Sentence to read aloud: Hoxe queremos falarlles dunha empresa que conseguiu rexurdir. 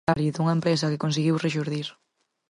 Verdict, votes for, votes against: rejected, 0, 4